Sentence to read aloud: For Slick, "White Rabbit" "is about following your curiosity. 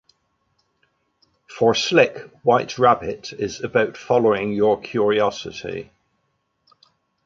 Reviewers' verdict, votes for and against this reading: accepted, 2, 1